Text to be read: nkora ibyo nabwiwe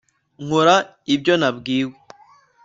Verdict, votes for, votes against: accepted, 2, 0